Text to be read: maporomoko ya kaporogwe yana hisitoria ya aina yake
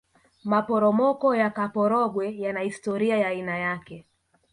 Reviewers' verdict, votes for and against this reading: rejected, 0, 2